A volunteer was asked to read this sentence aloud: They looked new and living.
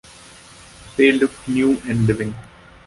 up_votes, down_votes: 3, 0